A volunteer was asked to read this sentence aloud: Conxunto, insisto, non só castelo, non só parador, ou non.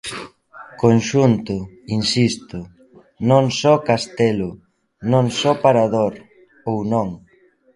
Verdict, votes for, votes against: rejected, 0, 2